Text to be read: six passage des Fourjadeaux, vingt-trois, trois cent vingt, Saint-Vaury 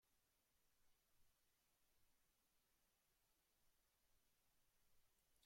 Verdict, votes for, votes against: rejected, 0, 2